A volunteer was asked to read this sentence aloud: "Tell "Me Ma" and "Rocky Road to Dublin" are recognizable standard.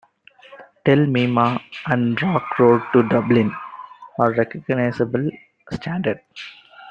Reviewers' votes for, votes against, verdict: 1, 2, rejected